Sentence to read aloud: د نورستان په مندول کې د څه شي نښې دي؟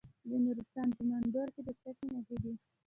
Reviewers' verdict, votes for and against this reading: rejected, 0, 2